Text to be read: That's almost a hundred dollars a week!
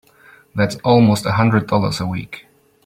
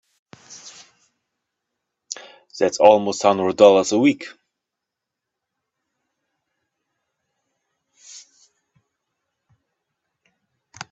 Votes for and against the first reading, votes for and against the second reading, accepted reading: 2, 0, 1, 3, first